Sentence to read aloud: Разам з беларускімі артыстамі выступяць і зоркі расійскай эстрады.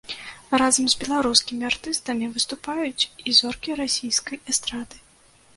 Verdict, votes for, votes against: rejected, 0, 2